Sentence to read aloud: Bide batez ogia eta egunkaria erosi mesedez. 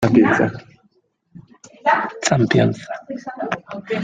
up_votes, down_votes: 0, 2